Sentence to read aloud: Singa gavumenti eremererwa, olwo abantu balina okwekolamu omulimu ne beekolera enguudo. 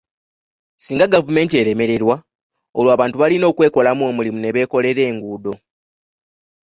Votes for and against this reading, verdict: 2, 0, accepted